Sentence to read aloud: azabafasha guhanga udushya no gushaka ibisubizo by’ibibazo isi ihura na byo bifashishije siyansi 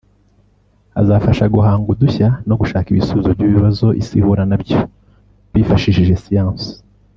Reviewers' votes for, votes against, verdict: 0, 2, rejected